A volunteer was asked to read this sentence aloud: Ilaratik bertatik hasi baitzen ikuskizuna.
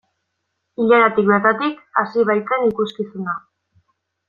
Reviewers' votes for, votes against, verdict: 2, 0, accepted